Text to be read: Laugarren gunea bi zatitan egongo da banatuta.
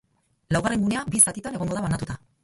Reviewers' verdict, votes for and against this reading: accepted, 2, 0